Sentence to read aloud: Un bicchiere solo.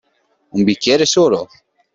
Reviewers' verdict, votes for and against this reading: accepted, 2, 0